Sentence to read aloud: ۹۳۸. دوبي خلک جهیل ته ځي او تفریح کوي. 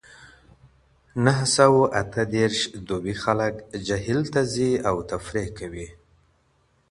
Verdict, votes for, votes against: rejected, 0, 2